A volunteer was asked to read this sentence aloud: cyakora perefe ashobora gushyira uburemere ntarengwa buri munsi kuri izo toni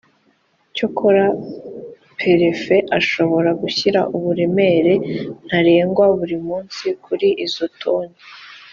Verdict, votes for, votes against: accepted, 4, 0